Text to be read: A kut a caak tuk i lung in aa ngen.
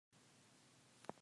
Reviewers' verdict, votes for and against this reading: rejected, 0, 2